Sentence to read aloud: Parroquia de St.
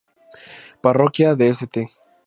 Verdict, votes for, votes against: accepted, 2, 0